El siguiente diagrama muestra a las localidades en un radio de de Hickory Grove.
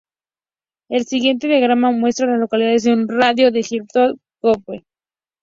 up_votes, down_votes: 0, 2